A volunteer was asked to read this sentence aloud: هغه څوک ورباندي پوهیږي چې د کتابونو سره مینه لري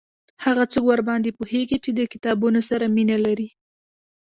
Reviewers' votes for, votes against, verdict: 1, 2, rejected